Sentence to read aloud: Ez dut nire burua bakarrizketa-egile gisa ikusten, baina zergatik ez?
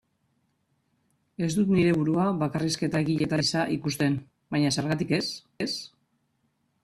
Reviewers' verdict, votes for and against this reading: rejected, 0, 2